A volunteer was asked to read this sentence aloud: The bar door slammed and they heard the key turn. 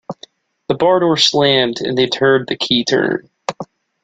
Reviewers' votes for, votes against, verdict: 0, 2, rejected